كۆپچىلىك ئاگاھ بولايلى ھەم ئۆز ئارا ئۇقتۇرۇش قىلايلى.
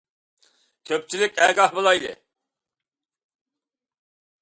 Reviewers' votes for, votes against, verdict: 0, 2, rejected